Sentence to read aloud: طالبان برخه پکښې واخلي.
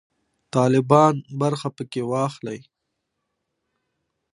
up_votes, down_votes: 2, 0